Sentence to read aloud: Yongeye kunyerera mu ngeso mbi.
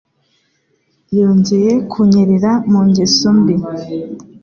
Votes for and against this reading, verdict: 2, 0, accepted